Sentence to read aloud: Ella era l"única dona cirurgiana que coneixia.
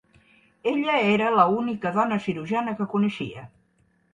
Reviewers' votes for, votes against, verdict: 2, 1, accepted